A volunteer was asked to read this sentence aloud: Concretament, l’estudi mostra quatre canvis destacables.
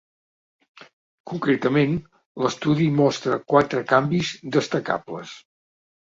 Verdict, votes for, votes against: accepted, 3, 0